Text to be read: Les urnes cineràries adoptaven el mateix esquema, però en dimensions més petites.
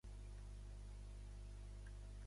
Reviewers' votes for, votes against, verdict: 0, 2, rejected